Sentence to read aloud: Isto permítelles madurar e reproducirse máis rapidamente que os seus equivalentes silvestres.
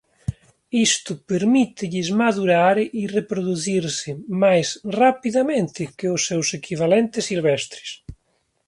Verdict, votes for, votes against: accepted, 2, 0